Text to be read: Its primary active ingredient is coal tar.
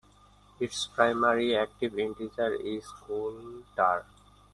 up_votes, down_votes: 0, 2